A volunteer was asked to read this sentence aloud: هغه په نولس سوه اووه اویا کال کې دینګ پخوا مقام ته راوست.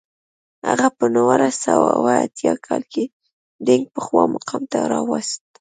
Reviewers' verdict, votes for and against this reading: rejected, 1, 2